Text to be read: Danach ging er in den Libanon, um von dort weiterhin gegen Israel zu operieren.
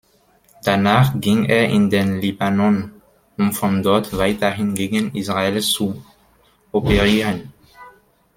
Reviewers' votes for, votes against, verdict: 2, 0, accepted